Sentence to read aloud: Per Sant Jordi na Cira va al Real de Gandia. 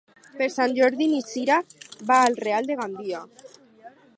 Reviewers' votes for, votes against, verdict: 4, 2, accepted